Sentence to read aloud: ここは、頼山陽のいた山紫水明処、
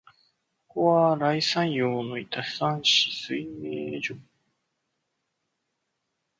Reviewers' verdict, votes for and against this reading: rejected, 2, 3